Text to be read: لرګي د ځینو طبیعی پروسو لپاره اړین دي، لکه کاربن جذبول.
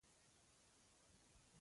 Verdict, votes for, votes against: rejected, 1, 2